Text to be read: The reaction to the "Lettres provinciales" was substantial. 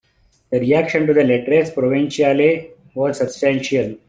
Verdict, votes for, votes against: accepted, 2, 0